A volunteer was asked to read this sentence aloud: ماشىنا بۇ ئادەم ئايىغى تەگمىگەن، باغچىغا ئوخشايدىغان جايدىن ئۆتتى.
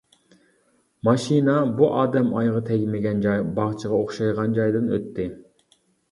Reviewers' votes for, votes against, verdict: 0, 2, rejected